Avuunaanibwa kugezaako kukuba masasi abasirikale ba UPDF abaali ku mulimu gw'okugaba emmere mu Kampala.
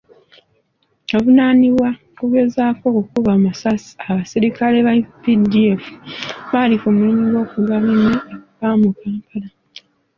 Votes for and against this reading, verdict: 0, 2, rejected